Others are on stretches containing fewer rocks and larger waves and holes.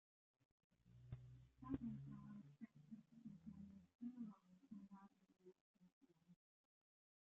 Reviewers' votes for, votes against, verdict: 0, 2, rejected